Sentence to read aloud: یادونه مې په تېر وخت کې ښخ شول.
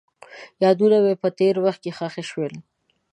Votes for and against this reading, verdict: 2, 0, accepted